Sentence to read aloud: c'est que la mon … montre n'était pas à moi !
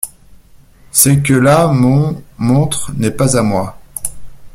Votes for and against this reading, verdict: 1, 2, rejected